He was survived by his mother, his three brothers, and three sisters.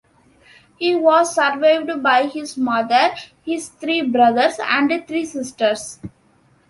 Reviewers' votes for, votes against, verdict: 2, 1, accepted